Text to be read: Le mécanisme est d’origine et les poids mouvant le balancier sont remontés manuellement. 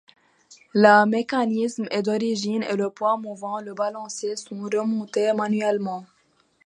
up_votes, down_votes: 0, 2